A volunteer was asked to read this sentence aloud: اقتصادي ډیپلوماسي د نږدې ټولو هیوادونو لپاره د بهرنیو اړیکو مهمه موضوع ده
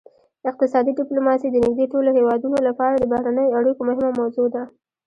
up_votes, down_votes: 1, 2